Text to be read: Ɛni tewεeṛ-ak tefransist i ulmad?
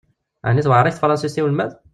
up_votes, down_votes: 1, 2